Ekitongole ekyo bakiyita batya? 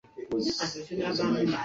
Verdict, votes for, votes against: rejected, 0, 2